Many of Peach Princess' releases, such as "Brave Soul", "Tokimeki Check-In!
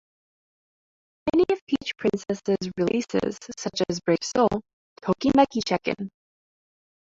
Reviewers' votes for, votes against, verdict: 2, 0, accepted